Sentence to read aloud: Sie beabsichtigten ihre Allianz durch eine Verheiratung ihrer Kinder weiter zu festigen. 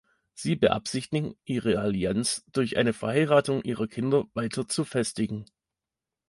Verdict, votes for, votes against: rejected, 1, 2